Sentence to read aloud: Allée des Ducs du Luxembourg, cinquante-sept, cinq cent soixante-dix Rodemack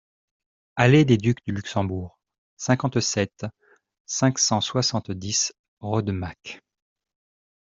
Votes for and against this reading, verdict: 2, 0, accepted